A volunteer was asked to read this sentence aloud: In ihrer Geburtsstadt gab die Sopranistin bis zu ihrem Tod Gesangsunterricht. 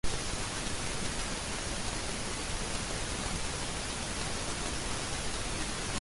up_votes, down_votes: 0, 2